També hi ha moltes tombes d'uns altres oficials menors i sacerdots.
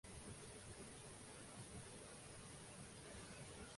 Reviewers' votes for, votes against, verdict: 0, 2, rejected